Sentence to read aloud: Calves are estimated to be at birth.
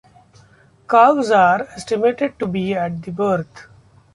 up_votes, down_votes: 1, 2